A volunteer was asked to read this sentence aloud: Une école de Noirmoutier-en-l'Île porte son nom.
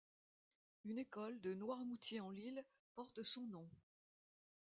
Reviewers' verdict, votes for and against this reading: rejected, 0, 2